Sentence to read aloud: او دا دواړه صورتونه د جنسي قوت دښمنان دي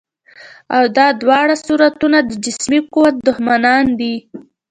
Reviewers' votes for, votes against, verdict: 0, 2, rejected